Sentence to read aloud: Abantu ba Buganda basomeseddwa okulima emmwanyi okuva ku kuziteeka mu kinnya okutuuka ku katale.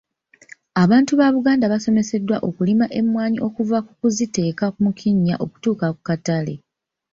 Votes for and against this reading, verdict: 2, 0, accepted